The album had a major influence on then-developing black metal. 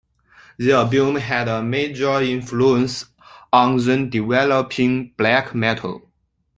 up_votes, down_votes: 2, 1